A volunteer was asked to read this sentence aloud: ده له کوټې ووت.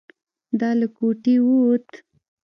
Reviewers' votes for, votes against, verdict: 0, 2, rejected